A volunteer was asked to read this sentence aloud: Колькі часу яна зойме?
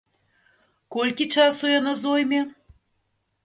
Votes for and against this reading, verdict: 2, 0, accepted